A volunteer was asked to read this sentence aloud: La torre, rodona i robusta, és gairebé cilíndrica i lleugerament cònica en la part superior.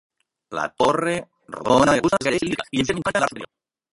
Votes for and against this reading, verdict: 0, 2, rejected